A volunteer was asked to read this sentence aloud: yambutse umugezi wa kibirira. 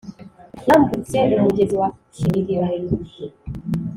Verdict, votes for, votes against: accepted, 2, 0